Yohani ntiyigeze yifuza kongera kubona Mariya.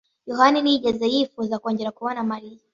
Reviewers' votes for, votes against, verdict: 2, 0, accepted